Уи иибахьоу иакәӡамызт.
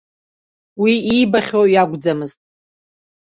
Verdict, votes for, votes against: accepted, 2, 0